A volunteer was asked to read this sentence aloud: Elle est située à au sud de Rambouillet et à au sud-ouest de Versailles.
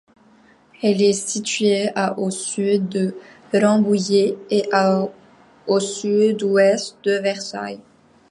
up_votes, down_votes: 2, 0